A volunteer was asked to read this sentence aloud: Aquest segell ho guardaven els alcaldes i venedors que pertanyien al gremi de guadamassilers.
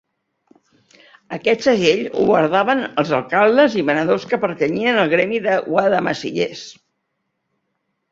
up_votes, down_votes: 0, 3